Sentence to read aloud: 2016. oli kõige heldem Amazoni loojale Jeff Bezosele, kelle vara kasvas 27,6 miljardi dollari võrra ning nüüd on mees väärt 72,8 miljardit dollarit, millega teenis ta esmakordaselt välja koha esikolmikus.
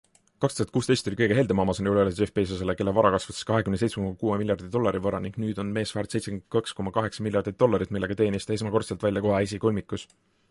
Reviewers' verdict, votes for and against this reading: rejected, 0, 2